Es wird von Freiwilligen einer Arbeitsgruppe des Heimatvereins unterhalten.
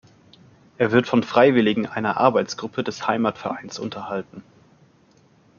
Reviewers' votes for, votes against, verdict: 1, 2, rejected